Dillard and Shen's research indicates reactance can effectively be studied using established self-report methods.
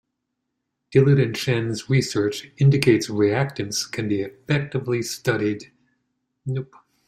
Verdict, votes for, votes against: rejected, 0, 2